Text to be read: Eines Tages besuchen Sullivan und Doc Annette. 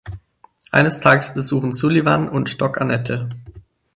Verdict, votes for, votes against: rejected, 2, 4